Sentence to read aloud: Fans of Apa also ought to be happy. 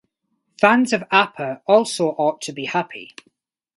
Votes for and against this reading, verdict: 4, 0, accepted